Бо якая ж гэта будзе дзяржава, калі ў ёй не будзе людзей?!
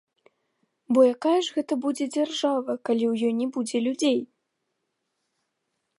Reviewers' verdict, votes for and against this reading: rejected, 0, 2